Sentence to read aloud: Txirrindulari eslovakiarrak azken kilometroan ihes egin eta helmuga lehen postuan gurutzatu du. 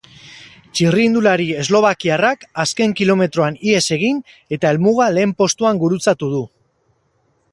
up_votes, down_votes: 4, 0